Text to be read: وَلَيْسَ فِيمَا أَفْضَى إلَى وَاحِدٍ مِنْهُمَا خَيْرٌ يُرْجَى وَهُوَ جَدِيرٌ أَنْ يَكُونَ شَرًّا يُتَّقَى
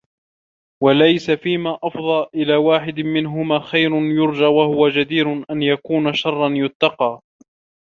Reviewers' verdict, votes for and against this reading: rejected, 1, 2